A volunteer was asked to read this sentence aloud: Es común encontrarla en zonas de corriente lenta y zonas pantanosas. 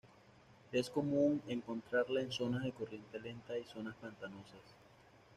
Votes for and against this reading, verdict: 1, 2, rejected